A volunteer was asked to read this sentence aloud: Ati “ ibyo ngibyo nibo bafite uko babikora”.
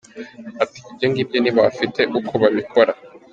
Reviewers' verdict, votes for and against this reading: accepted, 2, 0